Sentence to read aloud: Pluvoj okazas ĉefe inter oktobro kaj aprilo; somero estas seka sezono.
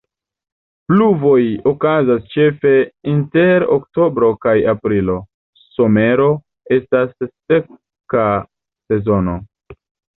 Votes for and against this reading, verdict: 0, 2, rejected